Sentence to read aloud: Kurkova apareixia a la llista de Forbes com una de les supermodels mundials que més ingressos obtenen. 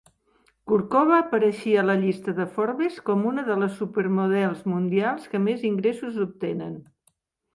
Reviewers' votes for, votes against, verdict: 2, 0, accepted